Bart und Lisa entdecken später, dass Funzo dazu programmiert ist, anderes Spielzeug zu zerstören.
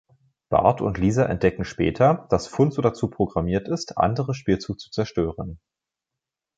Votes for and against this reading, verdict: 1, 2, rejected